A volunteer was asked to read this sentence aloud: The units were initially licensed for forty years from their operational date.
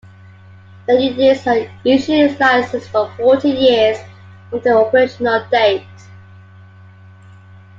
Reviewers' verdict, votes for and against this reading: accepted, 2, 1